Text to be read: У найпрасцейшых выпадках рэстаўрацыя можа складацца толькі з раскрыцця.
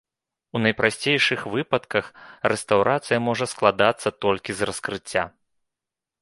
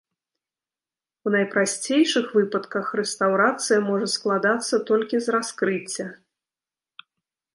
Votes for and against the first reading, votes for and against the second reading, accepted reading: 2, 1, 1, 2, first